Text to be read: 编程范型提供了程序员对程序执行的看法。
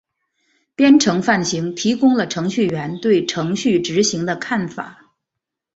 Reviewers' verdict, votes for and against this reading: accepted, 4, 0